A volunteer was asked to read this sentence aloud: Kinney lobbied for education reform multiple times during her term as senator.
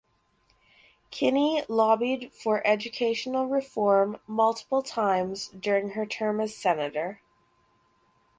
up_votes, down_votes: 2, 2